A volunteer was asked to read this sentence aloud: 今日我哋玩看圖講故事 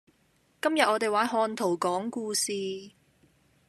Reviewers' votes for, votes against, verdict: 2, 0, accepted